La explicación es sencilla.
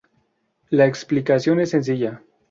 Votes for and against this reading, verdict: 4, 0, accepted